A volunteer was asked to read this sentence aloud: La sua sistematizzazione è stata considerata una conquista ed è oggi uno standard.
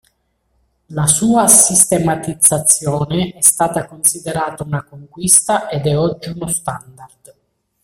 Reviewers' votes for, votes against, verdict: 0, 2, rejected